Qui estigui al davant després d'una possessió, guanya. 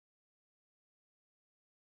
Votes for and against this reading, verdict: 0, 2, rejected